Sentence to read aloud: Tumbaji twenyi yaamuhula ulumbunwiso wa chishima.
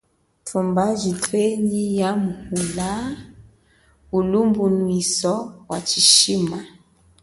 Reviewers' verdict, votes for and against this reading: accepted, 2, 0